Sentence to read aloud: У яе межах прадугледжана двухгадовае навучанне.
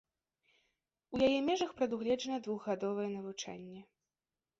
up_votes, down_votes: 2, 0